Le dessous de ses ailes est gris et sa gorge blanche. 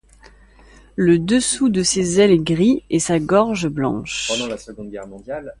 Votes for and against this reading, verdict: 1, 2, rejected